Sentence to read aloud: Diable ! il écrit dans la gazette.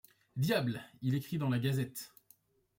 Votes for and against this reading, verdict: 2, 0, accepted